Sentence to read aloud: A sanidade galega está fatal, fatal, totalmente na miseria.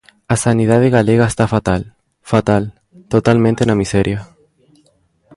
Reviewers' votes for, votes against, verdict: 2, 0, accepted